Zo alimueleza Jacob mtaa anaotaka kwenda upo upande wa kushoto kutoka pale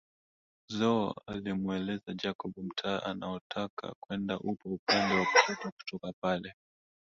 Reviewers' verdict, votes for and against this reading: rejected, 1, 2